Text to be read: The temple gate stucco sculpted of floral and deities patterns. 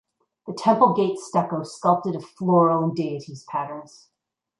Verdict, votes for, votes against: accepted, 2, 0